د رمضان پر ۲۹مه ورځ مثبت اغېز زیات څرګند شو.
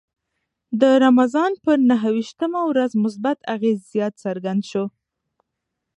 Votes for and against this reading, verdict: 0, 2, rejected